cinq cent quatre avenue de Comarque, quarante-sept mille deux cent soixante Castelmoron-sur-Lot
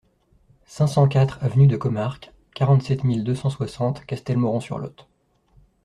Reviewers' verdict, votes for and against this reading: accepted, 2, 0